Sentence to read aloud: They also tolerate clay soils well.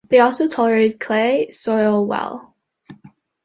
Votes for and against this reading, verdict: 0, 2, rejected